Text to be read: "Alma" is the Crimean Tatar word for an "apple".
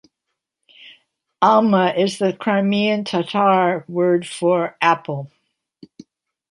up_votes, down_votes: 1, 2